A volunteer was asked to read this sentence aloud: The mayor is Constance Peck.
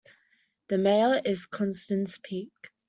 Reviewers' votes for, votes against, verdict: 0, 2, rejected